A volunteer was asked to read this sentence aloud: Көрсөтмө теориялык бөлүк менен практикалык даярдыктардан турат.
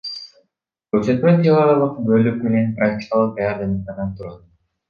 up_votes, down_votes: 1, 2